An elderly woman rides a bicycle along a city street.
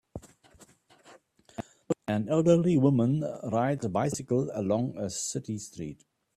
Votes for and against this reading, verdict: 2, 0, accepted